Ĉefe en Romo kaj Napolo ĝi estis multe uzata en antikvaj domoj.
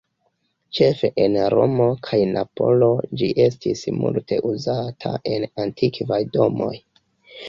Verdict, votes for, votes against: rejected, 1, 2